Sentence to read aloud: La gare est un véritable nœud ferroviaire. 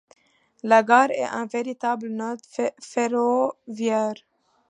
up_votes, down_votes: 2, 1